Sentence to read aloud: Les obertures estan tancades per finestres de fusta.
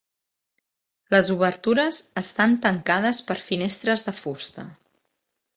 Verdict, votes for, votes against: accepted, 2, 0